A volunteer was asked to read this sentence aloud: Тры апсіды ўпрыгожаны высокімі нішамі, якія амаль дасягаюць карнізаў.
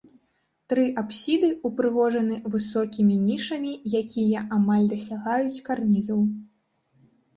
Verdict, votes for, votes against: rejected, 1, 2